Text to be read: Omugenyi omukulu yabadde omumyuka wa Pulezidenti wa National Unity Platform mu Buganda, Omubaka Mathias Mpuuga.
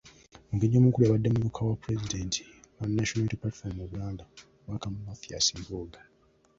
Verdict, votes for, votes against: accepted, 2, 0